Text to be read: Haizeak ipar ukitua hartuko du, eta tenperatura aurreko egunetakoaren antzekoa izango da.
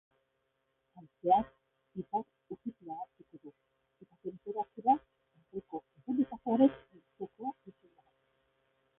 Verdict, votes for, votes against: rejected, 0, 2